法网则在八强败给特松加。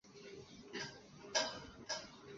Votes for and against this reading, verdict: 0, 2, rejected